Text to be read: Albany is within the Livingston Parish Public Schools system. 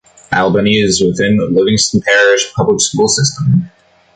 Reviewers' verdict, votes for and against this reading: rejected, 1, 2